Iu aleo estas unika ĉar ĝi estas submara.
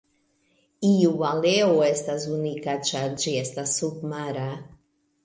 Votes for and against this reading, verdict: 0, 2, rejected